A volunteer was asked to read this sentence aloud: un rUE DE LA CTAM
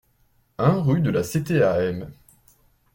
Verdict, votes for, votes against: accepted, 2, 0